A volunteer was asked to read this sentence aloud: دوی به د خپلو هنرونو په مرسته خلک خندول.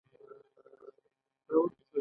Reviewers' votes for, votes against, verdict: 2, 0, accepted